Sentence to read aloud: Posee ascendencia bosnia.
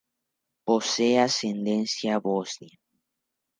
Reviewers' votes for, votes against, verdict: 2, 0, accepted